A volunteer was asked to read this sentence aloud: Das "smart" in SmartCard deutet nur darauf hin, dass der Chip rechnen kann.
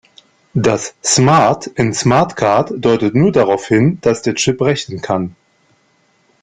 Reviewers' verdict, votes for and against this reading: accepted, 2, 0